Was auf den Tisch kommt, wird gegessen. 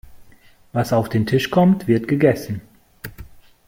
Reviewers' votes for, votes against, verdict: 2, 0, accepted